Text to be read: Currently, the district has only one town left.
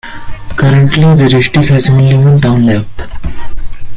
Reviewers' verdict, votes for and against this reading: rejected, 1, 2